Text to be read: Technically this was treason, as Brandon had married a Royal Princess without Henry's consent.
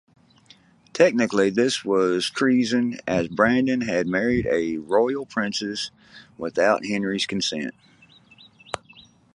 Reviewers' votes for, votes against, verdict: 2, 0, accepted